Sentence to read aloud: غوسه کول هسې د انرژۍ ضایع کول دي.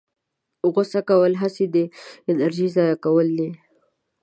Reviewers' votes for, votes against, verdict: 0, 2, rejected